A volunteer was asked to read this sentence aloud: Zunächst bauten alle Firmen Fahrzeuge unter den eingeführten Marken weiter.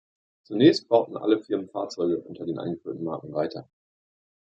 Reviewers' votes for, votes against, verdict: 2, 0, accepted